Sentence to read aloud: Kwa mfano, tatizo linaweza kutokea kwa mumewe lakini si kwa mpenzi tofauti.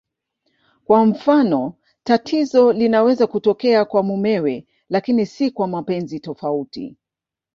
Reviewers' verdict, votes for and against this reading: rejected, 1, 2